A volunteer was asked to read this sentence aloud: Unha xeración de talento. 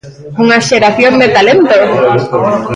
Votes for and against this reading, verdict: 0, 2, rejected